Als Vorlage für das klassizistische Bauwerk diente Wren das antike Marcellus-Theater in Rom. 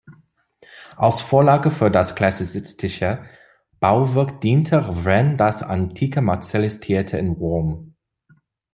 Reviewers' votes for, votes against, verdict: 0, 2, rejected